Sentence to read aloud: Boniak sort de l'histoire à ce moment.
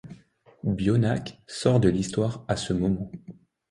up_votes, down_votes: 0, 2